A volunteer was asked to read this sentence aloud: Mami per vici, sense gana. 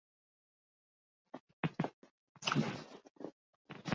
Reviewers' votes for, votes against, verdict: 0, 2, rejected